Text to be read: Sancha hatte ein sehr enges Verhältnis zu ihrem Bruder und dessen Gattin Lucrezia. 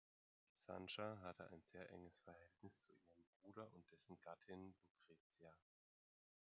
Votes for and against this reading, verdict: 2, 0, accepted